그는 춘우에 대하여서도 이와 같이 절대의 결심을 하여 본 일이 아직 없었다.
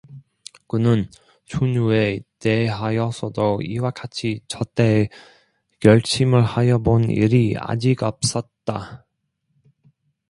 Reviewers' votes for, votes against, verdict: 0, 2, rejected